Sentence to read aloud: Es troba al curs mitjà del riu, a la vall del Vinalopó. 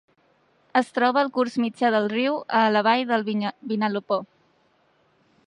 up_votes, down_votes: 0, 2